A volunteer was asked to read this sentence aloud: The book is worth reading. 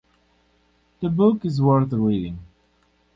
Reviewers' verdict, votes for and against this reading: accepted, 4, 0